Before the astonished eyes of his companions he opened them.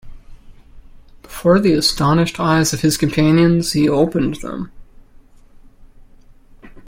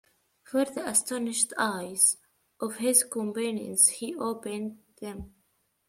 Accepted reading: first